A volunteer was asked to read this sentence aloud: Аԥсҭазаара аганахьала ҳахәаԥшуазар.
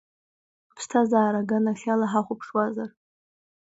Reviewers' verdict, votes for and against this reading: accepted, 2, 0